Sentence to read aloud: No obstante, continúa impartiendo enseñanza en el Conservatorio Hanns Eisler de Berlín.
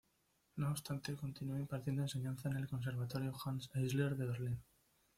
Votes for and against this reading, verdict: 1, 2, rejected